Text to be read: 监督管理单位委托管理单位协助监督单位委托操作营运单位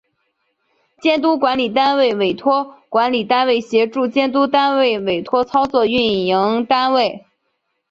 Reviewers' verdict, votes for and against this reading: accepted, 3, 0